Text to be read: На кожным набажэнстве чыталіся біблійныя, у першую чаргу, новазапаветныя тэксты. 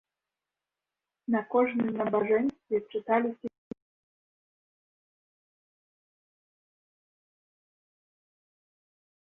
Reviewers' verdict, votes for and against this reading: rejected, 0, 2